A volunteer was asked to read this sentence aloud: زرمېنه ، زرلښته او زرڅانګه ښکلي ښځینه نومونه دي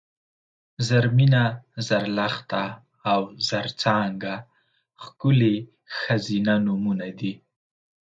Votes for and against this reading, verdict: 3, 0, accepted